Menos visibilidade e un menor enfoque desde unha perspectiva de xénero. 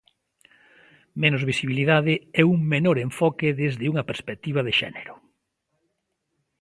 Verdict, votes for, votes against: accepted, 2, 0